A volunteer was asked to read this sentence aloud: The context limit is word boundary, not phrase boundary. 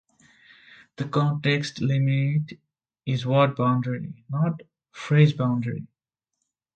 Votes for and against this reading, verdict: 1, 2, rejected